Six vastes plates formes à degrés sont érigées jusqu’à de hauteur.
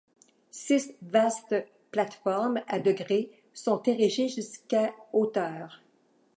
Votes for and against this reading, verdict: 1, 2, rejected